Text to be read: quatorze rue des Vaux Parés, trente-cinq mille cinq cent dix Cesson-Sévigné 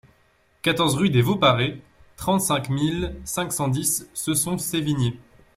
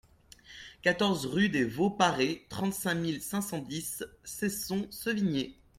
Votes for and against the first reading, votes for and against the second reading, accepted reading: 2, 1, 1, 2, first